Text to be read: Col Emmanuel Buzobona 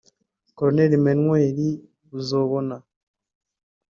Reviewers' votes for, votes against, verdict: 1, 2, rejected